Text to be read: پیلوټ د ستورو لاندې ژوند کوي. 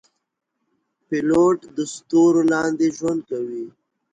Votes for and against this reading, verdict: 2, 0, accepted